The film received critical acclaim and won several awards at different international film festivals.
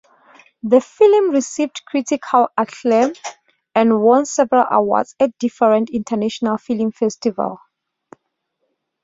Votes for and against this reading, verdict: 2, 1, accepted